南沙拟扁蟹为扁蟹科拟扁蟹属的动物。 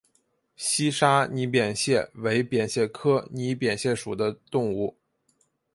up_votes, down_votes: 2, 0